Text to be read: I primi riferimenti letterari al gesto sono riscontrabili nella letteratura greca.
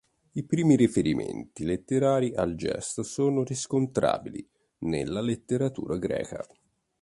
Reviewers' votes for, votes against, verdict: 2, 0, accepted